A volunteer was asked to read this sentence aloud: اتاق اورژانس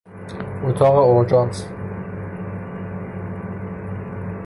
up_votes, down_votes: 0, 3